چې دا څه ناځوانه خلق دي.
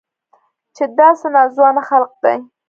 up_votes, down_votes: 2, 0